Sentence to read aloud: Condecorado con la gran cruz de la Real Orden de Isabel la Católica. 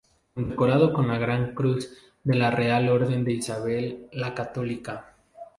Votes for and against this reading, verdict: 0, 2, rejected